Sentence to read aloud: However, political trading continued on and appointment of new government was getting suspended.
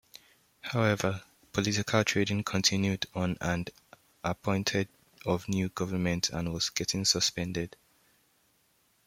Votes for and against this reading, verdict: 0, 2, rejected